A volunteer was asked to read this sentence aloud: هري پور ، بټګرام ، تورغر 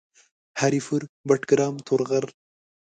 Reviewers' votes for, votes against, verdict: 2, 0, accepted